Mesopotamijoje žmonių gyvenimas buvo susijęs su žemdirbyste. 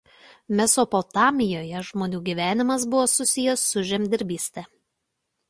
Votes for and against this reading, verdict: 2, 0, accepted